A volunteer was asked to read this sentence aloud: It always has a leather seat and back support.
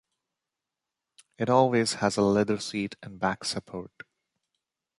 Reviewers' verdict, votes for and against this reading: accepted, 2, 0